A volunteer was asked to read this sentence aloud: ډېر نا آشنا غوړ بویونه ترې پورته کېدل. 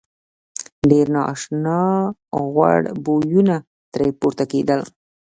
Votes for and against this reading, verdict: 2, 0, accepted